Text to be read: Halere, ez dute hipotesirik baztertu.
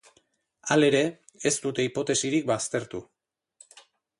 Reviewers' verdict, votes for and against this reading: accepted, 4, 0